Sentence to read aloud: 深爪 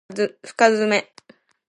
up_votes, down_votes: 2, 0